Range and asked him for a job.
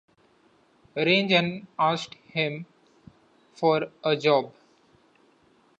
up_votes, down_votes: 2, 1